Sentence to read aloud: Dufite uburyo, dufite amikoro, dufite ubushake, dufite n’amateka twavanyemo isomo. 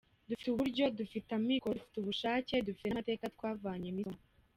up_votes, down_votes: 1, 2